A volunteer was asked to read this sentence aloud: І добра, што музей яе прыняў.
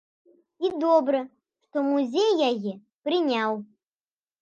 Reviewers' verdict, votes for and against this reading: accepted, 2, 0